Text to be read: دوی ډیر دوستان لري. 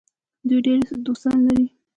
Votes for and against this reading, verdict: 2, 1, accepted